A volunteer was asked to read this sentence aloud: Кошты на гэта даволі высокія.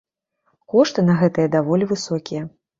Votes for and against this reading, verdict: 1, 2, rejected